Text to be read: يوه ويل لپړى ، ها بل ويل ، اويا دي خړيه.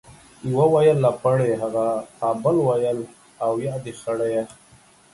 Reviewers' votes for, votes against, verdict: 2, 3, rejected